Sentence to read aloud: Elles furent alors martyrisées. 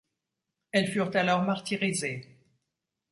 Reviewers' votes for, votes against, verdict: 2, 0, accepted